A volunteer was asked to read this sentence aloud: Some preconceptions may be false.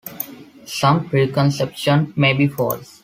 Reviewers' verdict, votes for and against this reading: accepted, 2, 0